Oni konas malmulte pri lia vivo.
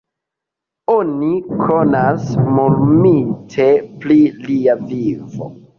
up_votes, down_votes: 0, 2